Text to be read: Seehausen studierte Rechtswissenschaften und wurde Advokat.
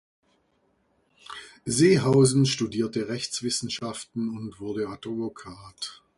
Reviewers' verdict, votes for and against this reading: rejected, 1, 2